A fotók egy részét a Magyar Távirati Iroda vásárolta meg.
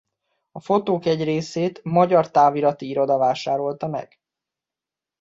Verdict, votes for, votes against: rejected, 0, 2